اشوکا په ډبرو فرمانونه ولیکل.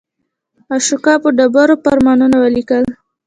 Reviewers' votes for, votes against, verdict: 0, 2, rejected